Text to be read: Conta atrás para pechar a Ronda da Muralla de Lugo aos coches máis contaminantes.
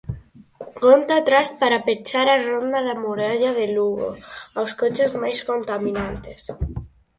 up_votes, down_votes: 4, 0